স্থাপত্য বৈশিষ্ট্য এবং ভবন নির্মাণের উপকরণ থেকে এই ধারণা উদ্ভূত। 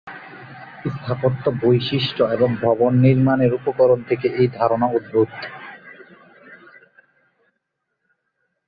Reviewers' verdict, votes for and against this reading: rejected, 2, 3